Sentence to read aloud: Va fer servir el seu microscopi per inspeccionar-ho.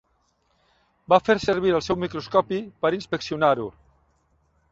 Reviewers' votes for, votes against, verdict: 3, 0, accepted